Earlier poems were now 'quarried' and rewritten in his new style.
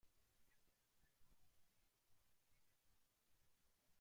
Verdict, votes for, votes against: rejected, 0, 2